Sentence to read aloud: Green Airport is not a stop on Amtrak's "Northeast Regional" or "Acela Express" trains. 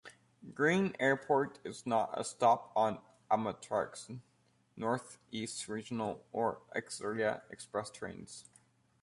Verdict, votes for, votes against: accepted, 2, 1